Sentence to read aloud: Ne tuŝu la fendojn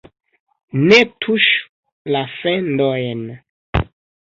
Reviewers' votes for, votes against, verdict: 1, 2, rejected